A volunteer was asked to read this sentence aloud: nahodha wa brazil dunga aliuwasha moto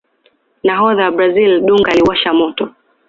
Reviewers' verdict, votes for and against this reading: accepted, 2, 0